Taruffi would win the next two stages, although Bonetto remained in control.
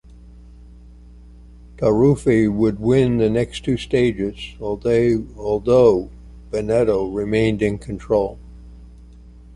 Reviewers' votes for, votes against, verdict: 1, 2, rejected